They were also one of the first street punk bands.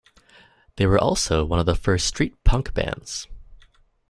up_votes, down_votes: 2, 0